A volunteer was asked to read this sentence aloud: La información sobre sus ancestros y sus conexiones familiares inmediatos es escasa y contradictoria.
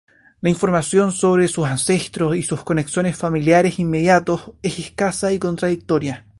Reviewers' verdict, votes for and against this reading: accepted, 2, 0